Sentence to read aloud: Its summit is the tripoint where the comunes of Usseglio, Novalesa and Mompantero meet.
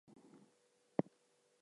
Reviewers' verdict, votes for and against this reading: rejected, 0, 2